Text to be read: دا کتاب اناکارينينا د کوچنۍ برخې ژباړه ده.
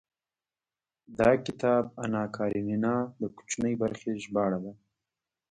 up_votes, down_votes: 2, 0